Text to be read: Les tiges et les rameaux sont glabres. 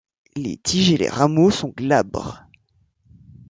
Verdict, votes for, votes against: accepted, 2, 0